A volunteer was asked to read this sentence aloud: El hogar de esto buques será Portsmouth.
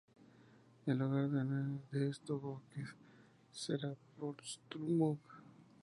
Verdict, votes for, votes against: accepted, 2, 0